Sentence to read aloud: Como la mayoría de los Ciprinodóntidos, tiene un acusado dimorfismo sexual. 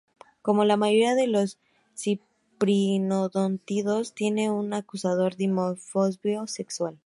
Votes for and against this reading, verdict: 0, 2, rejected